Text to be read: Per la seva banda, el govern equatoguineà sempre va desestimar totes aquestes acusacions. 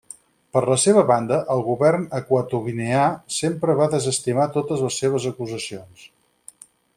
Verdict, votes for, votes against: rejected, 2, 4